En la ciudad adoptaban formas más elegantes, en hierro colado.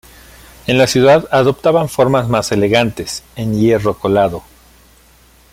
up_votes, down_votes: 1, 2